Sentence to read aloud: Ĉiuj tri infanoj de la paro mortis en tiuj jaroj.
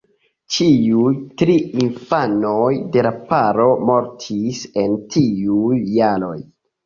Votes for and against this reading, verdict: 1, 2, rejected